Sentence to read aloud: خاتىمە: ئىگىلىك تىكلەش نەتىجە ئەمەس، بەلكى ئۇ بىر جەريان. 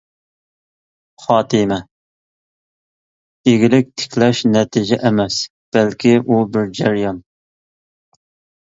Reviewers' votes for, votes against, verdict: 3, 0, accepted